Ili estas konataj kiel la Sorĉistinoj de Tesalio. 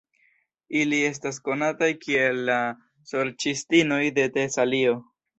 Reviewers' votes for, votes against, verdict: 2, 0, accepted